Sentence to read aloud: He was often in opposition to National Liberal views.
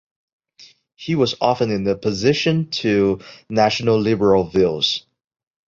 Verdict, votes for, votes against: rejected, 0, 2